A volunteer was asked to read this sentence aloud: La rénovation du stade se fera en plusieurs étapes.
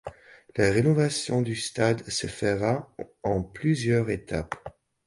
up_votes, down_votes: 0, 2